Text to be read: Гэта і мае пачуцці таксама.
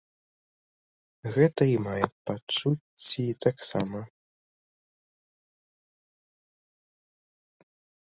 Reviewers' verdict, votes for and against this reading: accepted, 2, 1